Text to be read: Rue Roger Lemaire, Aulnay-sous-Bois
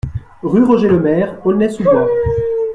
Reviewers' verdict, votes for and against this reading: rejected, 1, 2